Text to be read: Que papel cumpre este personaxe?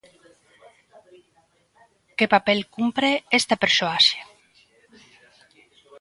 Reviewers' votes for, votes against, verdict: 0, 2, rejected